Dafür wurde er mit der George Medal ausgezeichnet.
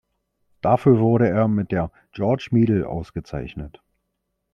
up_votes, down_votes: 1, 2